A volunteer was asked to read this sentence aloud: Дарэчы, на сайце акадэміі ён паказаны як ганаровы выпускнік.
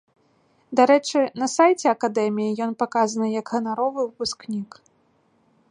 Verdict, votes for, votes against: accepted, 2, 0